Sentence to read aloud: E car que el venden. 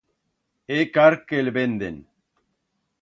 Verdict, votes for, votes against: rejected, 1, 2